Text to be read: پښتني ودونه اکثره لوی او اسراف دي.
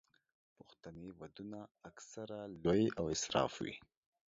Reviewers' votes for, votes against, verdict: 1, 2, rejected